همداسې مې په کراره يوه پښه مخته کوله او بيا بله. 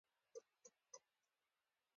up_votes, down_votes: 2, 1